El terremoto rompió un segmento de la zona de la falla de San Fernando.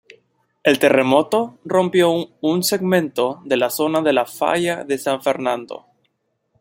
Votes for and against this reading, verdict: 0, 2, rejected